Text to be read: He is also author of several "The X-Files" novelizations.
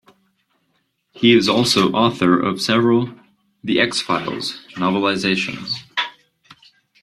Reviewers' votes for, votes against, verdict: 2, 0, accepted